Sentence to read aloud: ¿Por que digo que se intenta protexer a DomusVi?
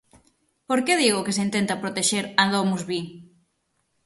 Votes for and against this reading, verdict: 6, 0, accepted